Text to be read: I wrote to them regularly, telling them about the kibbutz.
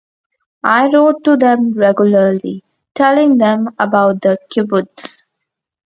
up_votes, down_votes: 2, 0